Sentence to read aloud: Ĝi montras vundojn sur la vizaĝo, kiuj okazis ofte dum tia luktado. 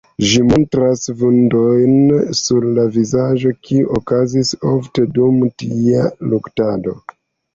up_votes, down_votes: 1, 2